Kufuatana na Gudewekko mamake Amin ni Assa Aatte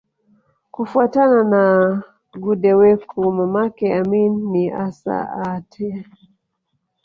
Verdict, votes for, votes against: rejected, 1, 2